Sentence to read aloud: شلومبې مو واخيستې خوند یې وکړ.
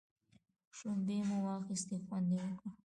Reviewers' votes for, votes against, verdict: 1, 2, rejected